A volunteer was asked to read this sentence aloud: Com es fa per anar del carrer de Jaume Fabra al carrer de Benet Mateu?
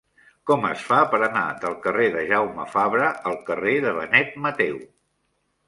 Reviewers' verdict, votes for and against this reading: accepted, 3, 1